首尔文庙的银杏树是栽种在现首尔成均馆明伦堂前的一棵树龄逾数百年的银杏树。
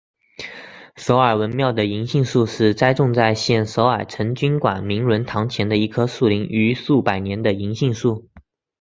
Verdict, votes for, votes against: accepted, 4, 0